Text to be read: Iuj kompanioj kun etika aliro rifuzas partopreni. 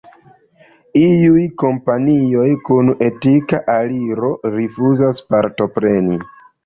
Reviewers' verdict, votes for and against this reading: accepted, 3, 0